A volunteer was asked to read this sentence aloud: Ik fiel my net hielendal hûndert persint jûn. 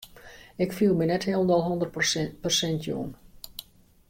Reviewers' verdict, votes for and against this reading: rejected, 0, 2